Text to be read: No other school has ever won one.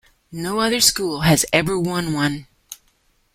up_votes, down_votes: 2, 0